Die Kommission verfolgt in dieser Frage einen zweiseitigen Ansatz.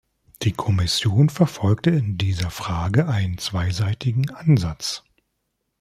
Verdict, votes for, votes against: rejected, 1, 2